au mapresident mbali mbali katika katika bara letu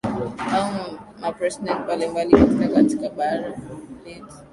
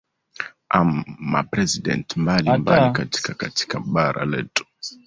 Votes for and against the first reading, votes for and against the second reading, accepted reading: 4, 0, 0, 2, first